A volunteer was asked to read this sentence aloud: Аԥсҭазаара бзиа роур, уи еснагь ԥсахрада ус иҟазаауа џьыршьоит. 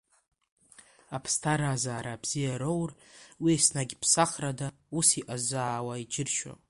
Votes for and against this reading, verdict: 2, 1, accepted